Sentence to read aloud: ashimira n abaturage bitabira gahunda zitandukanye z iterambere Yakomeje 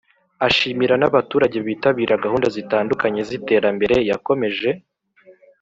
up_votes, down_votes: 2, 0